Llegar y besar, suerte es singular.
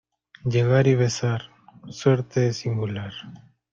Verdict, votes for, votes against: accepted, 2, 0